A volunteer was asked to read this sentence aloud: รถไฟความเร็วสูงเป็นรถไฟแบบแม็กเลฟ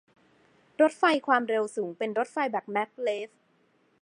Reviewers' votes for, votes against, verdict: 2, 0, accepted